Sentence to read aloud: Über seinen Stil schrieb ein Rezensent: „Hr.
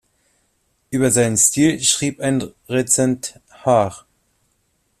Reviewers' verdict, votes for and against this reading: rejected, 0, 2